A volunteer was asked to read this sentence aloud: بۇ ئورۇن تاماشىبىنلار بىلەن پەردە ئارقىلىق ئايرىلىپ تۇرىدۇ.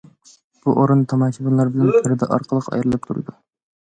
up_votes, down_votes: 2, 0